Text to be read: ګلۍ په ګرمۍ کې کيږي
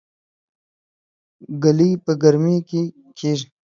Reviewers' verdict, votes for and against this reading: accepted, 2, 0